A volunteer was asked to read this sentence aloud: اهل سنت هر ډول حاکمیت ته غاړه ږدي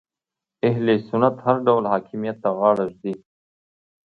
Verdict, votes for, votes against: accepted, 2, 0